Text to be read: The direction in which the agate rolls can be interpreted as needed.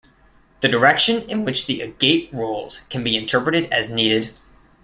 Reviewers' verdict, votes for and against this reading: accepted, 2, 0